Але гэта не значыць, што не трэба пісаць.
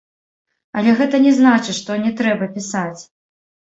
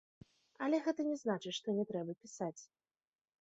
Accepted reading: second